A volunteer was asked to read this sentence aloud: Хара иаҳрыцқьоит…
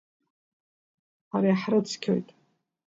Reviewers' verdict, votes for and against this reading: rejected, 0, 2